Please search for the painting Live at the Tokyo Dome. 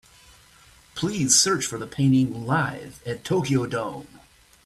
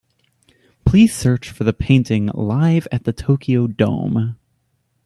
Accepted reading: second